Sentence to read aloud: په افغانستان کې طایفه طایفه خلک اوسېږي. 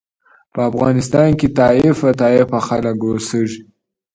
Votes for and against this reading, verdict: 0, 3, rejected